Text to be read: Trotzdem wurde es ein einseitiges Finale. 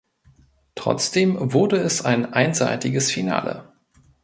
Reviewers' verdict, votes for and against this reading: accepted, 2, 0